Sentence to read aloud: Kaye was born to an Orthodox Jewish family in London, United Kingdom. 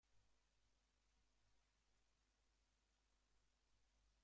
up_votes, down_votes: 0, 2